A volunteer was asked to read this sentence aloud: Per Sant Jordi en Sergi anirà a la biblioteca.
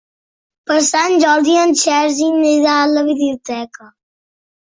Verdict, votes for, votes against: accepted, 2, 1